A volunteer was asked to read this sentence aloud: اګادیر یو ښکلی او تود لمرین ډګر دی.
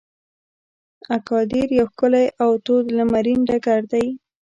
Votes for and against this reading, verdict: 1, 2, rejected